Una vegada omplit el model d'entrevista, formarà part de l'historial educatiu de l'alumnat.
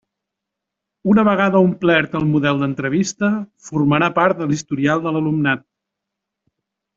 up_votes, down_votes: 1, 2